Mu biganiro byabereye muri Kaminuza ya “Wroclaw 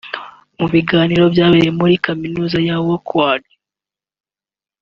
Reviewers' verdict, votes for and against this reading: accepted, 2, 1